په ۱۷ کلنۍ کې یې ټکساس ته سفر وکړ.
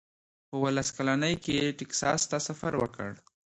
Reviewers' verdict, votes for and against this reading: rejected, 0, 2